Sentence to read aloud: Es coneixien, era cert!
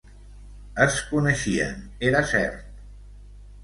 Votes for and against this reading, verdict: 2, 0, accepted